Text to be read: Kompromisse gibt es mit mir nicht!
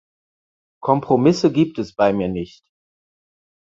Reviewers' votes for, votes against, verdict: 2, 4, rejected